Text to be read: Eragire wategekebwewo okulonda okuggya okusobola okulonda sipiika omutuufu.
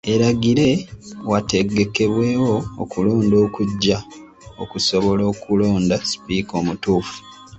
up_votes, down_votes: 1, 2